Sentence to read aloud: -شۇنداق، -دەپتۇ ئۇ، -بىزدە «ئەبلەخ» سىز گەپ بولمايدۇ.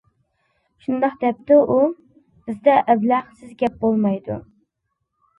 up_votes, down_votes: 2, 0